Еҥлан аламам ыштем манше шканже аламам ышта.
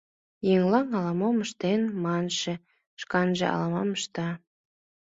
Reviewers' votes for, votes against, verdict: 1, 2, rejected